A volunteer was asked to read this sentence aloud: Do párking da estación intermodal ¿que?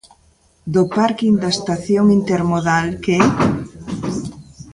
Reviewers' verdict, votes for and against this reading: rejected, 1, 2